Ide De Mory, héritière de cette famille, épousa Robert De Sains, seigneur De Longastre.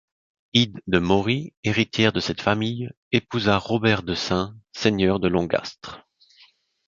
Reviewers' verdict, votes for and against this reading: accepted, 2, 0